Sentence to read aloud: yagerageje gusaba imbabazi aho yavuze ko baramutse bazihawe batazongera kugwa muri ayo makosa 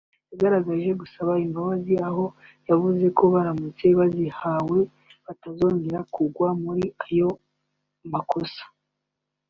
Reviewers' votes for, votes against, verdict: 0, 2, rejected